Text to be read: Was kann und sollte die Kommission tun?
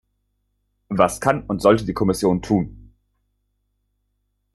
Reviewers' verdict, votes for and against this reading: accepted, 3, 0